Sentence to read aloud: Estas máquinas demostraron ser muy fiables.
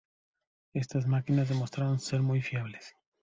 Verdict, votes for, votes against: accepted, 2, 0